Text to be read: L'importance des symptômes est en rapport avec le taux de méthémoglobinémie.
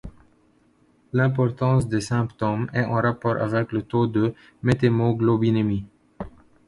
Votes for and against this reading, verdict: 0, 2, rejected